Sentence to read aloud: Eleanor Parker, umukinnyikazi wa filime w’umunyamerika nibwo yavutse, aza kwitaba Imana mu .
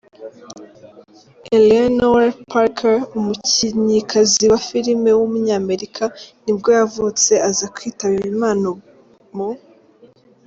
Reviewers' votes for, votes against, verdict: 1, 2, rejected